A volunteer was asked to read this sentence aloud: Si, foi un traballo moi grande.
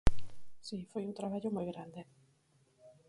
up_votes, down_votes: 4, 0